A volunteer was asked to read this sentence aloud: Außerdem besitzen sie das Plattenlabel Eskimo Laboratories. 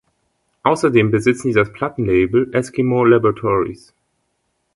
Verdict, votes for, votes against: accepted, 2, 0